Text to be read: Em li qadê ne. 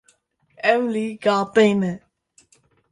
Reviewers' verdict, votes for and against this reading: rejected, 1, 2